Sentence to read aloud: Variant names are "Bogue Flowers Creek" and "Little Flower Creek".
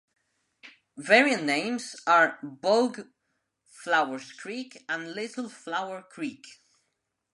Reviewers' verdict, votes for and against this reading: accepted, 2, 0